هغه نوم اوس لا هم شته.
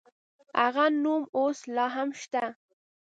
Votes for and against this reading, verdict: 2, 0, accepted